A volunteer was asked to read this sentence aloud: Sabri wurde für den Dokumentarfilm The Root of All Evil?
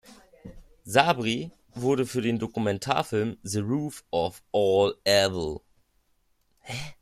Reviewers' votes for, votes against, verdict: 0, 2, rejected